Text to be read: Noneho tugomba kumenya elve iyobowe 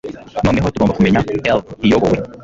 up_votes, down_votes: 1, 2